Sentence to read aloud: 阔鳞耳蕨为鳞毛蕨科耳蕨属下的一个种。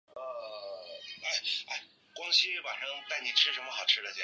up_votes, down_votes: 0, 3